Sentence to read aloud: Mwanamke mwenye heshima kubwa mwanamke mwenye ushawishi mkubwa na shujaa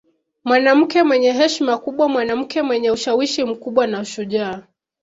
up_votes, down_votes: 1, 2